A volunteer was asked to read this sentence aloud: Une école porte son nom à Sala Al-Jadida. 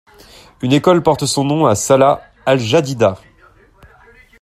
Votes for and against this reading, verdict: 2, 0, accepted